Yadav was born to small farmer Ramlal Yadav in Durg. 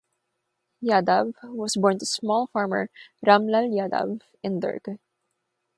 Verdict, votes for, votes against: rejected, 0, 6